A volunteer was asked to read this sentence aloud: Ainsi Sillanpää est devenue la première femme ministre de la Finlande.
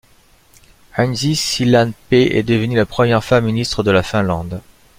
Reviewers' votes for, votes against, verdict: 1, 2, rejected